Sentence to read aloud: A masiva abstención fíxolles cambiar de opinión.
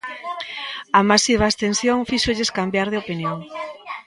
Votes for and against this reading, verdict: 1, 2, rejected